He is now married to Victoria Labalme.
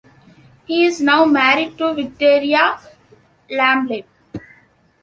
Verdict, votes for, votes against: rejected, 1, 2